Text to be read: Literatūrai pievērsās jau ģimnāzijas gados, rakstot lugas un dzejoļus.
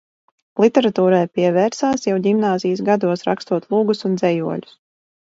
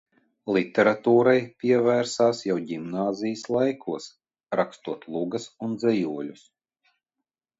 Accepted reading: first